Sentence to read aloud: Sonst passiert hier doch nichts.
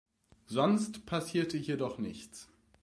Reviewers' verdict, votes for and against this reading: rejected, 0, 2